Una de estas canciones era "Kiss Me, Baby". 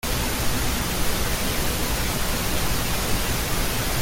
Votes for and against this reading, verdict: 0, 2, rejected